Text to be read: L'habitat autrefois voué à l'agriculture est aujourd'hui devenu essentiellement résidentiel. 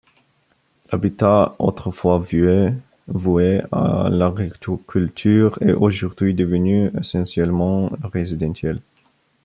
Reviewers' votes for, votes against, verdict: 0, 3, rejected